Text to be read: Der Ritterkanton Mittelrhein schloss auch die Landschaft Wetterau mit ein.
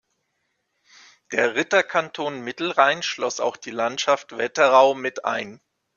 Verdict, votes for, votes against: accepted, 2, 0